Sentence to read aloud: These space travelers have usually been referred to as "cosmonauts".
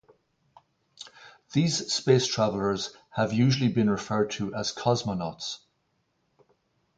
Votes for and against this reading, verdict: 0, 2, rejected